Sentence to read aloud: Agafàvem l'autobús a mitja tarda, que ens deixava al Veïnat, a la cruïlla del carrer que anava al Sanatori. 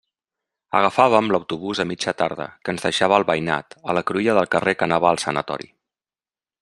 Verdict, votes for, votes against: accepted, 2, 0